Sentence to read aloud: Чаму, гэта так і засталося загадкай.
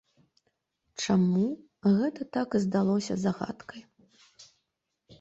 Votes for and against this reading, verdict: 0, 2, rejected